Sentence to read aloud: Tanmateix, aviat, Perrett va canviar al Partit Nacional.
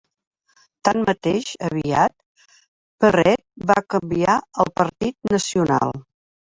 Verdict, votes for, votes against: rejected, 1, 2